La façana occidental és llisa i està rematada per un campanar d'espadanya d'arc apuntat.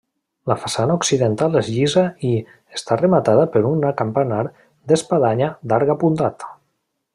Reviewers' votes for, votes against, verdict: 0, 2, rejected